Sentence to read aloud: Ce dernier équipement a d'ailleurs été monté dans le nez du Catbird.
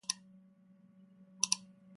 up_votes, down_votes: 0, 2